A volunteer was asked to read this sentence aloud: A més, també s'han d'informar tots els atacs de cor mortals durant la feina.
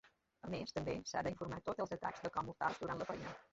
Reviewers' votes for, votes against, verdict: 0, 2, rejected